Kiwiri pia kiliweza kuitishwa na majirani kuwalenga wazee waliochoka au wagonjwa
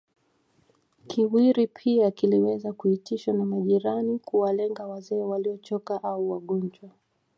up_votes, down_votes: 2, 0